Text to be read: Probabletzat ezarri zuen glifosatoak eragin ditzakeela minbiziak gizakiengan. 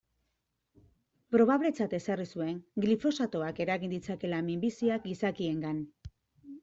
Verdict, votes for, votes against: accepted, 2, 1